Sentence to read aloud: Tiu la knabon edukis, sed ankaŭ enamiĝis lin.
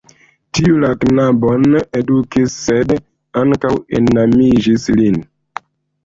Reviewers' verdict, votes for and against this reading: accepted, 2, 1